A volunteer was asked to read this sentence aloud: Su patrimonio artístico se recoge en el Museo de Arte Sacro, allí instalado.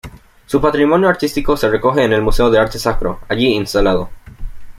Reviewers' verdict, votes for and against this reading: accepted, 2, 0